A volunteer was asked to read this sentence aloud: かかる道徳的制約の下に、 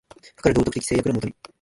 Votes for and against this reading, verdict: 0, 2, rejected